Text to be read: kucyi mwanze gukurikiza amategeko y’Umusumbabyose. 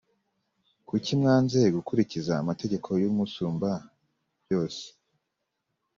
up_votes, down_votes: 4, 0